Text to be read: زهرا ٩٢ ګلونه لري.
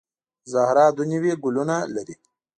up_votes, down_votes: 0, 2